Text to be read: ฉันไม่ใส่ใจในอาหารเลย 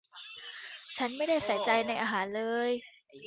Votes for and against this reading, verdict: 1, 2, rejected